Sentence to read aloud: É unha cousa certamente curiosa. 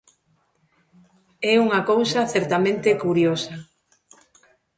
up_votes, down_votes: 1, 2